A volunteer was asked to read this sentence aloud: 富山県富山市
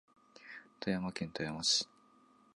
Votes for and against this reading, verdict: 7, 0, accepted